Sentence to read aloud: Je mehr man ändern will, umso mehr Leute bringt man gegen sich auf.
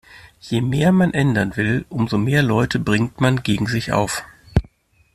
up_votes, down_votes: 2, 0